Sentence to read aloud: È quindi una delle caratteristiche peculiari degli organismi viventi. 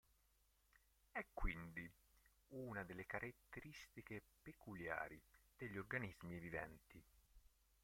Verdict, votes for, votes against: rejected, 0, 2